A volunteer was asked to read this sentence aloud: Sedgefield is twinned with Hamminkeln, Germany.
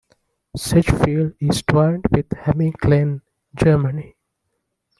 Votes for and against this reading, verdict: 1, 2, rejected